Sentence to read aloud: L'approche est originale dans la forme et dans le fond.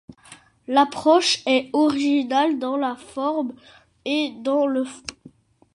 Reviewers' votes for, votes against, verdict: 0, 2, rejected